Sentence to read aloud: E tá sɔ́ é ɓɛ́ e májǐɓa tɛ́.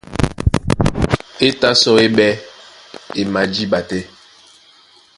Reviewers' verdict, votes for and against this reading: rejected, 0, 2